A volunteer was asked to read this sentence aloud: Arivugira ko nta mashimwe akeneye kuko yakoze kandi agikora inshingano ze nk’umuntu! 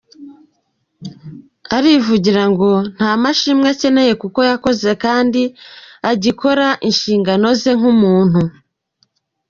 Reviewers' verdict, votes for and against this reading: rejected, 0, 2